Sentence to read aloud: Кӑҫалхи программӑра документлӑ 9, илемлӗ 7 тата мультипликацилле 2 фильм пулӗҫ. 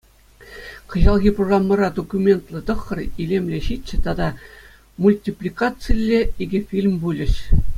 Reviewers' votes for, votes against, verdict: 0, 2, rejected